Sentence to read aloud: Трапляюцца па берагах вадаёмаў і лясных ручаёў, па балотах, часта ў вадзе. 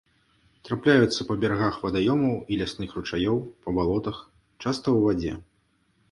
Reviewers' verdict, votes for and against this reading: accepted, 2, 1